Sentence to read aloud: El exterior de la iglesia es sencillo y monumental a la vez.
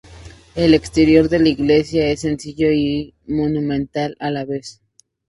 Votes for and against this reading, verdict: 2, 0, accepted